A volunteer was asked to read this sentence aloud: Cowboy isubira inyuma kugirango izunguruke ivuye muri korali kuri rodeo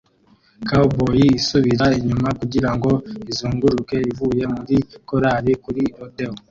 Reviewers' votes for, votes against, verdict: 1, 2, rejected